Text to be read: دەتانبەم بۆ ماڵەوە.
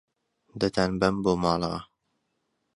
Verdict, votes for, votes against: accepted, 2, 0